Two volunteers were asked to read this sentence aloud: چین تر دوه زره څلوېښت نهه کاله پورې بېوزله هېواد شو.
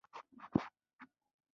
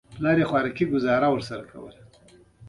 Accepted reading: first